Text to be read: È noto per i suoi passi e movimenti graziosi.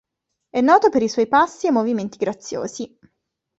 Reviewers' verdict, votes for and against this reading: accepted, 2, 0